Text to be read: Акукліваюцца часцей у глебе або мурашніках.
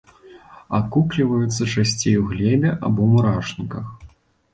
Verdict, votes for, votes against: accepted, 2, 0